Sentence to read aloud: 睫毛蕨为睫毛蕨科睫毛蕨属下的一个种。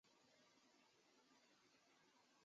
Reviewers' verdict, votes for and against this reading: rejected, 0, 2